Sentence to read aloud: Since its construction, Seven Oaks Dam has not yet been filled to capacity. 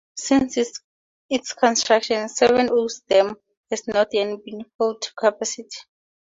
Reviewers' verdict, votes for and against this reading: rejected, 2, 2